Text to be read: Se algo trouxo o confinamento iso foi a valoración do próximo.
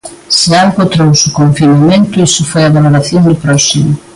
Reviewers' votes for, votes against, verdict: 2, 0, accepted